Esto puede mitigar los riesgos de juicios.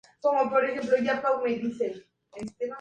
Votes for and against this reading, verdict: 0, 2, rejected